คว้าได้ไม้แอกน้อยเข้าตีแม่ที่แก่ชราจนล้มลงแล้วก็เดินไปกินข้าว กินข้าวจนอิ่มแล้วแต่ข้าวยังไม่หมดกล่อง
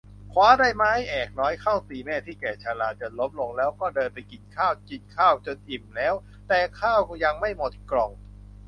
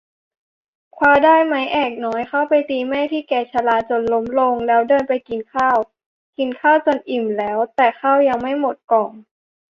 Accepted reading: first